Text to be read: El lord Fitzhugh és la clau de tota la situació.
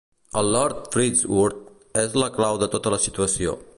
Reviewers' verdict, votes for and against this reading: rejected, 1, 2